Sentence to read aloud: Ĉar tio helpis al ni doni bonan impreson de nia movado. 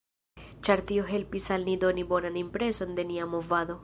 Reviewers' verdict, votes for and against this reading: accepted, 3, 1